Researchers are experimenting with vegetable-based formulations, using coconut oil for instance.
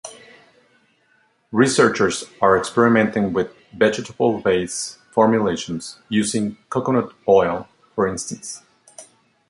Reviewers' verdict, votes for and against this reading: accepted, 2, 1